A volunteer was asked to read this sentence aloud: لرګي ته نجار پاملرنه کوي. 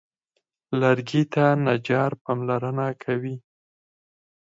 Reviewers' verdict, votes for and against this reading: rejected, 0, 4